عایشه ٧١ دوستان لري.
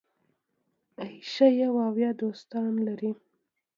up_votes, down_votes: 0, 2